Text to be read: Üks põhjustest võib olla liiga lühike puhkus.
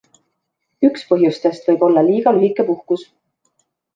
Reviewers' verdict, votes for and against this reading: accepted, 2, 0